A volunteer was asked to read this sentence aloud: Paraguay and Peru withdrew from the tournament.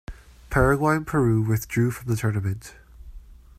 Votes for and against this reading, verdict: 1, 2, rejected